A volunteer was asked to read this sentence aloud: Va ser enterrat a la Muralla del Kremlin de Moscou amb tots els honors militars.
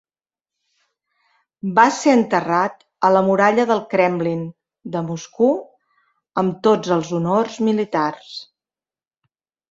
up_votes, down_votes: 4, 1